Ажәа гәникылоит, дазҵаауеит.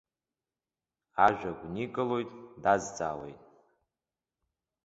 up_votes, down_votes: 2, 0